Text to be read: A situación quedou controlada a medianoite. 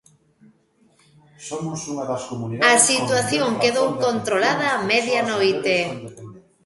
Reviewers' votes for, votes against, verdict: 0, 2, rejected